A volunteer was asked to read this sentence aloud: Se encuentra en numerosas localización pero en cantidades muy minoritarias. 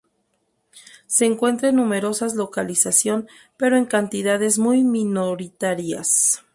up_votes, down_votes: 0, 2